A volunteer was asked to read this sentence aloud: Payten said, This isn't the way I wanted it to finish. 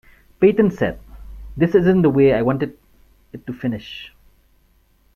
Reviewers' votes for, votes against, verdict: 1, 2, rejected